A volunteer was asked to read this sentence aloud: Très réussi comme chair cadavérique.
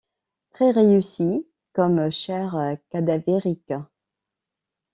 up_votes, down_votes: 2, 0